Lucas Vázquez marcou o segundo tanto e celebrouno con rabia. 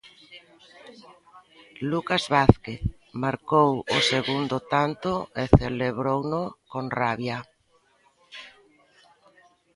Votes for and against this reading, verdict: 2, 0, accepted